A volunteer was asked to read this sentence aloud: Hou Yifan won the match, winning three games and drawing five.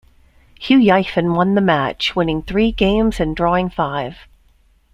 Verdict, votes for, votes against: accepted, 2, 0